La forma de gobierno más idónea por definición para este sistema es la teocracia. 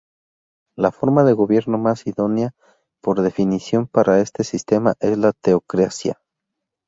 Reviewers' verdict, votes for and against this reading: rejected, 0, 2